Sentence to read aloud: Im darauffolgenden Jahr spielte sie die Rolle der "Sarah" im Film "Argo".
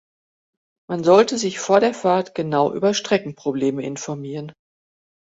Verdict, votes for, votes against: rejected, 1, 2